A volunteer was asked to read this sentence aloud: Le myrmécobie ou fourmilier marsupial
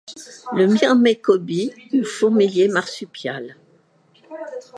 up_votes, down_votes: 1, 2